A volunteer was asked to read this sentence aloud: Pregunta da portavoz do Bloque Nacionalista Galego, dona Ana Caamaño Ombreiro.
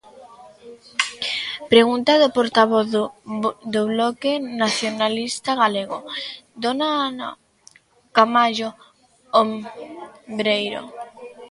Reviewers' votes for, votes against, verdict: 0, 2, rejected